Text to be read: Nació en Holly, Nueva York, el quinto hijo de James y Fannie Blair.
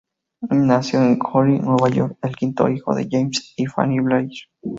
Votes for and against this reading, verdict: 2, 2, rejected